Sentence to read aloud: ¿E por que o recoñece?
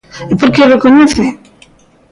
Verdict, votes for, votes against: rejected, 0, 2